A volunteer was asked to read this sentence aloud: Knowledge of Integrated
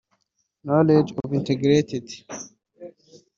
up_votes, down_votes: 1, 2